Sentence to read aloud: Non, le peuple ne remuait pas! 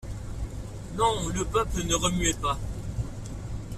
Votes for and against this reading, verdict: 2, 0, accepted